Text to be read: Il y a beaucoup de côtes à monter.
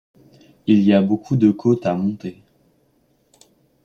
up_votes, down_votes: 2, 0